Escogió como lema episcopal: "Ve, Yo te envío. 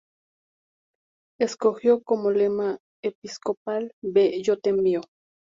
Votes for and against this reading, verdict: 2, 0, accepted